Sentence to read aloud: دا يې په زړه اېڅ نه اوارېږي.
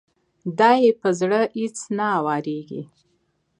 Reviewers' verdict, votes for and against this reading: accepted, 2, 0